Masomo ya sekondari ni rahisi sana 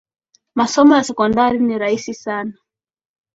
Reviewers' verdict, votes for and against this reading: accepted, 2, 0